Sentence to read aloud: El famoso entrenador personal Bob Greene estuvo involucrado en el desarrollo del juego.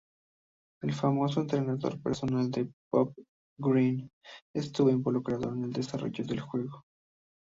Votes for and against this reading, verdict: 0, 2, rejected